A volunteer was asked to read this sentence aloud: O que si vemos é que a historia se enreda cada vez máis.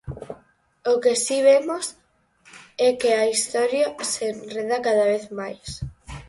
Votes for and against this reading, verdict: 4, 0, accepted